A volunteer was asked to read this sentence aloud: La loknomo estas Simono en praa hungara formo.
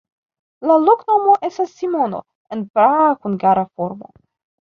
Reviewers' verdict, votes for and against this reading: accepted, 2, 1